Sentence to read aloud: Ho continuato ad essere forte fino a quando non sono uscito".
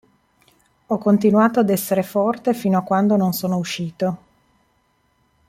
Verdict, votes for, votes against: accepted, 2, 0